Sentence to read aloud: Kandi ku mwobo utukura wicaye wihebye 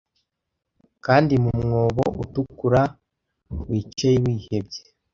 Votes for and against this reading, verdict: 1, 2, rejected